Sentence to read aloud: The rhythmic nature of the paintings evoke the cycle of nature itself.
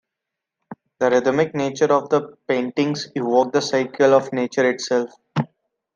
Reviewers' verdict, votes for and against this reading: accepted, 2, 0